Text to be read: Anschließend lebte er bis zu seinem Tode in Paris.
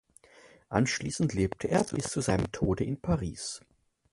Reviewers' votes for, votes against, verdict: 1, 2, rejected